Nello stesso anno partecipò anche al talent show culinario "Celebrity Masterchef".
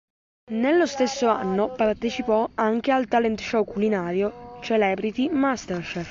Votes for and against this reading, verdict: 2, 0, accepted